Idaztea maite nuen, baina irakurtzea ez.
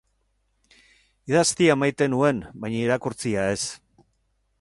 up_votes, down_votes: 0, 4